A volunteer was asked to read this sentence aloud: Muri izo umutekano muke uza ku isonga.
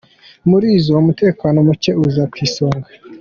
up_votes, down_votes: 2, 1